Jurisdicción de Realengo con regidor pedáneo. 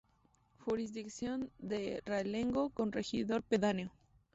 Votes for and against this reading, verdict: 2, 0, accepted